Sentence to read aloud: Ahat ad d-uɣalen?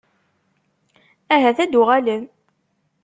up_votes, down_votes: 2, 0